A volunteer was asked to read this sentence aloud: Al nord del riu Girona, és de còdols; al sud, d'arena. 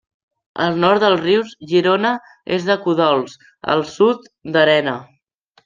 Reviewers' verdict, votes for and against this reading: rejected, 1, 2